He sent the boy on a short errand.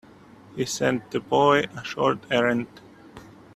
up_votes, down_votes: 0, 2